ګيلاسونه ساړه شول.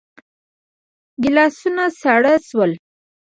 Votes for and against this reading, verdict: 2, 1, accepted